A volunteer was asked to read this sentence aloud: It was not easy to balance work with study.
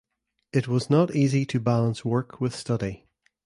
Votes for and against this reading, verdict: 2, 0, accepted